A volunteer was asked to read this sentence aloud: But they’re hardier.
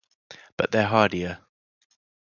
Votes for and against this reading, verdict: 0, 2, rejected